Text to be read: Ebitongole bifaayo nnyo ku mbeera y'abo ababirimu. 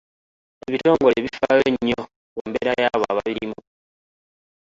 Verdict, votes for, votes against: accepted, 2, 0